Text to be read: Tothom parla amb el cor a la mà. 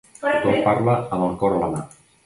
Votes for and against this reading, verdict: 1, 2, rejected